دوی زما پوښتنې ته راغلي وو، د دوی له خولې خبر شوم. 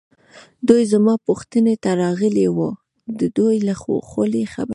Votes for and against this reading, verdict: 2, 0, accepted